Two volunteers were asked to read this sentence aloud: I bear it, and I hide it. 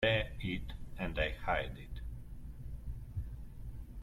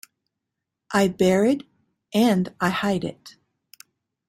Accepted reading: second